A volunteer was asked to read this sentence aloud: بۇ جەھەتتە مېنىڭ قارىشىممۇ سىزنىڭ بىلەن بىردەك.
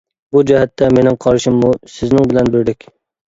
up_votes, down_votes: 2, 0